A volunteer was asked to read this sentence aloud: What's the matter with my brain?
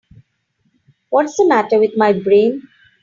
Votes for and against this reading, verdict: 3, 0, accepted